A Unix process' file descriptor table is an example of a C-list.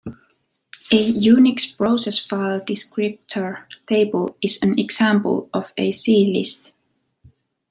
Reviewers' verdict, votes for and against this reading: accepted, 2, 0